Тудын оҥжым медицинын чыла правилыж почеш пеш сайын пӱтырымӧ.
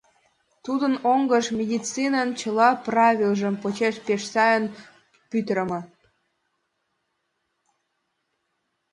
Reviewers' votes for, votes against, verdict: 1, 2, rejected